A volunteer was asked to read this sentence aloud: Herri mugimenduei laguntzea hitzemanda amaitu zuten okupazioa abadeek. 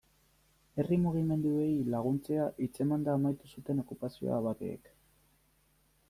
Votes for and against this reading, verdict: 0, 2, rejected